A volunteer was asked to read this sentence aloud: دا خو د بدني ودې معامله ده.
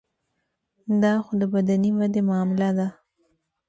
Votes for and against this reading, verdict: 1, 2, rejected